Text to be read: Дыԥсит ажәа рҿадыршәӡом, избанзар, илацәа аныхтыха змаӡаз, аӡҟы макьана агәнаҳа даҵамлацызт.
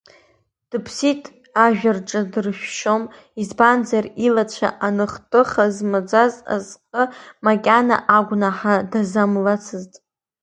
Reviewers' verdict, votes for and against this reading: rejected, 0, 2